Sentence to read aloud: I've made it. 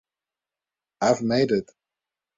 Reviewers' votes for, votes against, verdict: 2, 0, accepted